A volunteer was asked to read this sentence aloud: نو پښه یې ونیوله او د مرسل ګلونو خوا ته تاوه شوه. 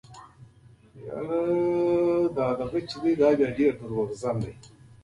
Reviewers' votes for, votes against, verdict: 1, 2, rejected